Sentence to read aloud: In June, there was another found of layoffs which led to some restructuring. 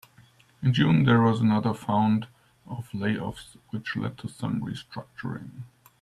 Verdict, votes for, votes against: accepted, 2, 0